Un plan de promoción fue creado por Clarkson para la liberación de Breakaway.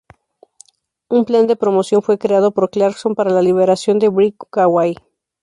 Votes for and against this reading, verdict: 2, 0, accepted